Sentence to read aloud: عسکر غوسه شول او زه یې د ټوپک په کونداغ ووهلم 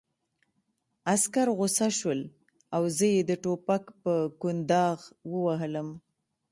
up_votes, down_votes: 1, 2